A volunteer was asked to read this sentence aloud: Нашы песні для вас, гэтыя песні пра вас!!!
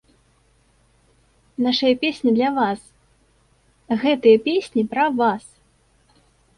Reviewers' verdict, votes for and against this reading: rejected, 0, 2